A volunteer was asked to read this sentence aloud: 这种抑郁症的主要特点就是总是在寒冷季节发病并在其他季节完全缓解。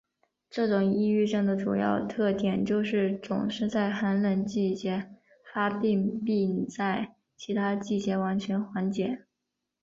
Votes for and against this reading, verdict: 4, 0, accepted